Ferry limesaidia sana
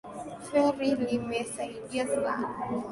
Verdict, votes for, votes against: rejected, 0, 2